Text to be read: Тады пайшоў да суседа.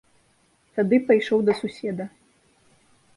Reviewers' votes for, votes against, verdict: 2, 0, accepted